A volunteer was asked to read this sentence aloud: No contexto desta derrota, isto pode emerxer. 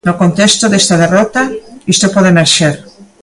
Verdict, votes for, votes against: accepted, 2, 0